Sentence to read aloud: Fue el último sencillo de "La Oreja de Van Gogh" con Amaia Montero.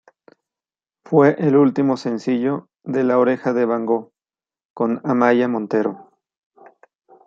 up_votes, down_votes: 2, 0